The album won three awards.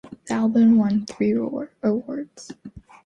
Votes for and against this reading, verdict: 0, 2, rejected